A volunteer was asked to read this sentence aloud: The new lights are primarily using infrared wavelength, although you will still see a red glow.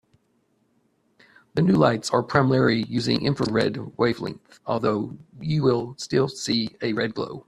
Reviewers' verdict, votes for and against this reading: accepted, 2, 0